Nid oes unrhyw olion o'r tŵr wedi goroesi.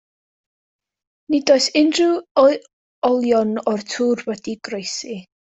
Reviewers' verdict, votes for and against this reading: rejected, 1, 2